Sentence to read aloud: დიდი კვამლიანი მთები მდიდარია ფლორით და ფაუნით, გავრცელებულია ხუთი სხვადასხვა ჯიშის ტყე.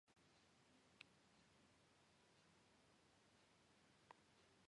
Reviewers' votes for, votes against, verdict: 1, 2, rejected